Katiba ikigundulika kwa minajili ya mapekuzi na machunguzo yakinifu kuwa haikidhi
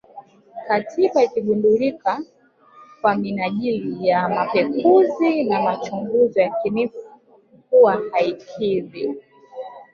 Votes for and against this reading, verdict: 0, 2, rejected